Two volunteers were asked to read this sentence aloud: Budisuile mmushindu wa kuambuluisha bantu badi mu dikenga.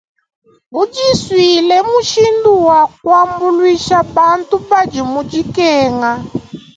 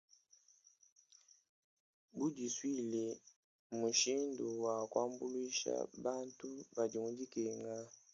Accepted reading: first